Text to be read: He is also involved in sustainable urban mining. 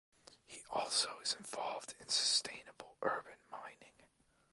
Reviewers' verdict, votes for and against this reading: rejected, 1, 2